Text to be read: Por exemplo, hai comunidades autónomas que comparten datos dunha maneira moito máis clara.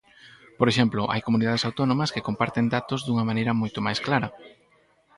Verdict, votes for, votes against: rejected, 2, 2